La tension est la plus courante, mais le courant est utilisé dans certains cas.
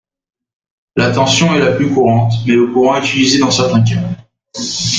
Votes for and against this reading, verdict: 0, 2, rejected